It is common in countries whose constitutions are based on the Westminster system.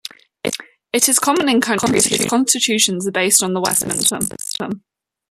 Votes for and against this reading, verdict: 0, 2, rejected